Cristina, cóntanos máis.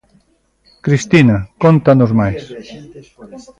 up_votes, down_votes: 1, 2